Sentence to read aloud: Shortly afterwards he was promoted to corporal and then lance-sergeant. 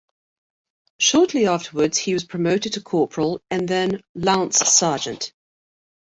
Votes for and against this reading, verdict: 0, 2, rejected